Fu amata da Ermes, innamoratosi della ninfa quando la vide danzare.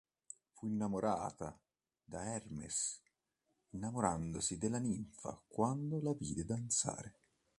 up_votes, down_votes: 1, 2